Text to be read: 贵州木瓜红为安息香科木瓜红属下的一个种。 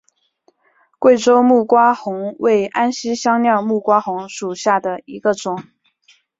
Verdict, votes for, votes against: accepted, 2, 0